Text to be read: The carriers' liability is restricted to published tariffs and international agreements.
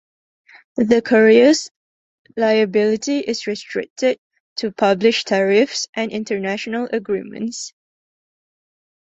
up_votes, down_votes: 2, 1